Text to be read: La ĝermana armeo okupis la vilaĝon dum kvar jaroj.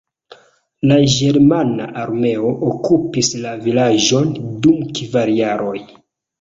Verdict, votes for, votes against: accepted, 2, 0